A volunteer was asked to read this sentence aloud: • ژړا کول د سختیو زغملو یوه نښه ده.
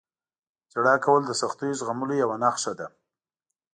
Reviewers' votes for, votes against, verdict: 2, 0, accepted